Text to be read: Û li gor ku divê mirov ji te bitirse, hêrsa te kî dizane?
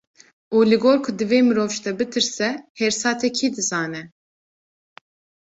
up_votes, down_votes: 2, 0